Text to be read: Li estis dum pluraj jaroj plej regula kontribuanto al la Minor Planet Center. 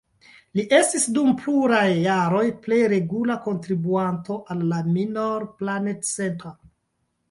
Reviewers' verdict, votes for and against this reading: rejected, 1, 2